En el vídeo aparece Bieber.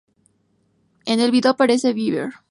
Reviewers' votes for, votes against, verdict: 0, 2, rejected